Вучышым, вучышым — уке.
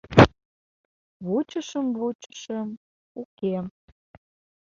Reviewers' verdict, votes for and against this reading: accepted, 2, 0